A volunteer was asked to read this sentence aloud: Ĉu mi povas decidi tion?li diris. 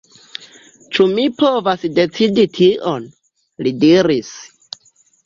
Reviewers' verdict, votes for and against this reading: accepted, 2, 0